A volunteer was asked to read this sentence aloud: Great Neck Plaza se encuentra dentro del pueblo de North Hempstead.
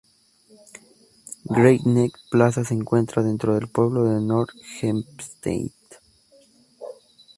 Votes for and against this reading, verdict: 0, 2, rejected